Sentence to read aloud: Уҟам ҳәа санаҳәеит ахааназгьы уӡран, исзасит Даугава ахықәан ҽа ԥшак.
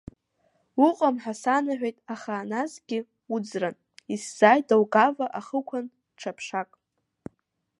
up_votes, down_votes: 2, 1